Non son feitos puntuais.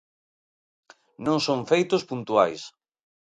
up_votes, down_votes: 2, 0